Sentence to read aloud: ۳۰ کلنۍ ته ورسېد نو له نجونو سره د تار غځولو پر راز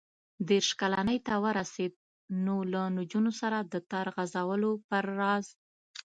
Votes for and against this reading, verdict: 0, 2, rejected